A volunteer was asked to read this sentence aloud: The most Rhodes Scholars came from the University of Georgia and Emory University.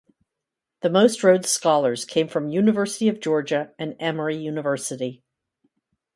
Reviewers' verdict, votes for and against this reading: rejected, 0, 2